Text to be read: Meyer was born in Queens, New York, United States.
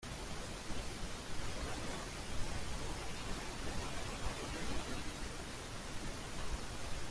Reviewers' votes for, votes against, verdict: 0, 2, rejected